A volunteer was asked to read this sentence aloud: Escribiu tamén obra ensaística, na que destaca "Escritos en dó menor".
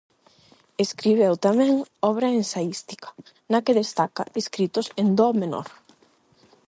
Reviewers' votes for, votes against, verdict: 4, 4, rejected